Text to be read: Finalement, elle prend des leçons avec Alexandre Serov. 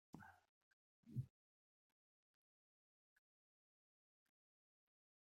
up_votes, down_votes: 0, 2